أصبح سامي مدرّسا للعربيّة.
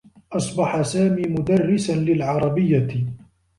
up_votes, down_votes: 2, 0